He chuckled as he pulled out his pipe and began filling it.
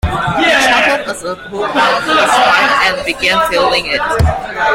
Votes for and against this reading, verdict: 0, 2, rejected